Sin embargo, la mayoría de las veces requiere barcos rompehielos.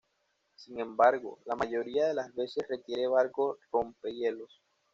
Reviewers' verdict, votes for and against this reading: accepted, 2, 0